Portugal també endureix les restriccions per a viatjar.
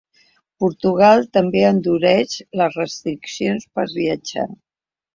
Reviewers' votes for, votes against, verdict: 1, 2, rejected